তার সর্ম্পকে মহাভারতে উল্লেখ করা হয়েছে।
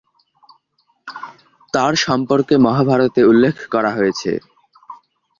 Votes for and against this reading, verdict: 2, 0, accepted